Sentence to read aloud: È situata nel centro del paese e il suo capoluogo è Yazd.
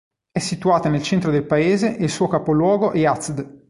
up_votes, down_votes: 3, 1